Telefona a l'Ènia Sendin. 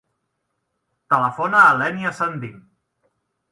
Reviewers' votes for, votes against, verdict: 0, 2, rejected